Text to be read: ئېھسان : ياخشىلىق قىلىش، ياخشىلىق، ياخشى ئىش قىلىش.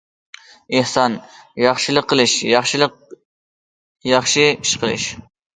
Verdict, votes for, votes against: accepted, 2, 0